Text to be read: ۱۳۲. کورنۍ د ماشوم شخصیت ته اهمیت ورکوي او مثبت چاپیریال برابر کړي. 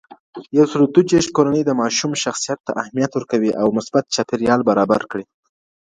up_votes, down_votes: 0, 2